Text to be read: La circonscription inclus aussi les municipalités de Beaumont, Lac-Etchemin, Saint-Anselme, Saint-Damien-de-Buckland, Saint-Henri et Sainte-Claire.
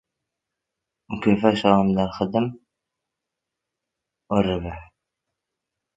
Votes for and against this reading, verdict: 0, 2, rejected